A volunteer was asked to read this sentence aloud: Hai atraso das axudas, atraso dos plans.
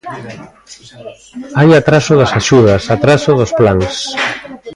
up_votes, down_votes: 1, 2